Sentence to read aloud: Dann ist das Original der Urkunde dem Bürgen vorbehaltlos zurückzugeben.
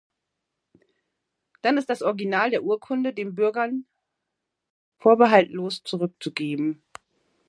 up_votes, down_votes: 2, 1